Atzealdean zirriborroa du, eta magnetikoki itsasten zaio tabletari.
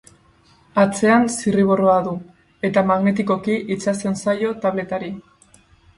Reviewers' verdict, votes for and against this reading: rejected, 2, 2